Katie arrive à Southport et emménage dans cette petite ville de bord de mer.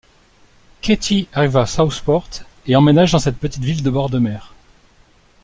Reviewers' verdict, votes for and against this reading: accepted, 2, 0